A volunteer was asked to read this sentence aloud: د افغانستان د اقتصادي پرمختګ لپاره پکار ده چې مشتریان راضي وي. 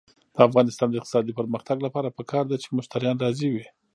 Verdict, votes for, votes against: rejected, 1, 2